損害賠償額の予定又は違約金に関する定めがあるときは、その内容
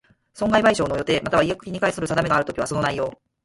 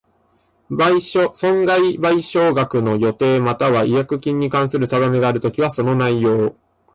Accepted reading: second